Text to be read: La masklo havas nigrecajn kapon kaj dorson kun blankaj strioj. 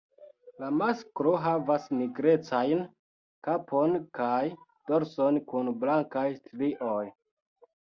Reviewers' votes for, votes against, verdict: 2, 1, accepted